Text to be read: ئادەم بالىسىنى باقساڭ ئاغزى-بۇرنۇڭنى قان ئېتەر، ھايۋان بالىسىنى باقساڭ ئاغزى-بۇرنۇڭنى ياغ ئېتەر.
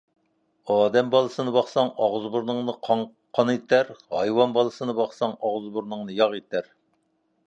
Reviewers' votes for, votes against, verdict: 0, 2, rejected